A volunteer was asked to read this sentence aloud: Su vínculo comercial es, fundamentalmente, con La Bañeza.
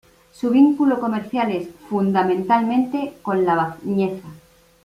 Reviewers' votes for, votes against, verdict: 1, 2, rejected